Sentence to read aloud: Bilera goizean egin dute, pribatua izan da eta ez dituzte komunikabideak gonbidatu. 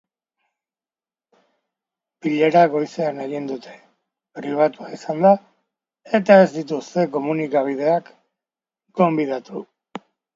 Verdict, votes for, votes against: accepted, 2, 0